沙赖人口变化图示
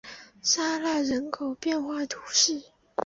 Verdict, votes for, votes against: accepted, 7, 0